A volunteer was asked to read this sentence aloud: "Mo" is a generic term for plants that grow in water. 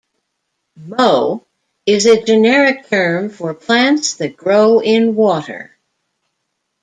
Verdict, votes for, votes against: accepted, 2, 0